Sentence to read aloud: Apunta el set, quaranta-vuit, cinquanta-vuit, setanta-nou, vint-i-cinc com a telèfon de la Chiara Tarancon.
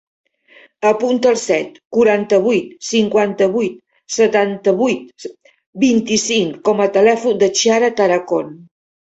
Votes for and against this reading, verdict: 0, 2, rejected